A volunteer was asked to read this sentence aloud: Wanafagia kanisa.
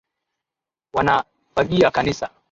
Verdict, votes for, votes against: accepted, 2, 0